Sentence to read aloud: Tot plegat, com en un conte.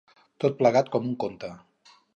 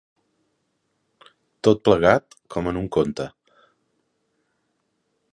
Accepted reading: second